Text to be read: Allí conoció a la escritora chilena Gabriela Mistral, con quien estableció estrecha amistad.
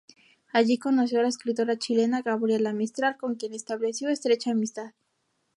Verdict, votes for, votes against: accepted, 2, 0